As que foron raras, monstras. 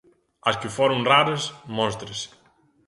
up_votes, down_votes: 2, 0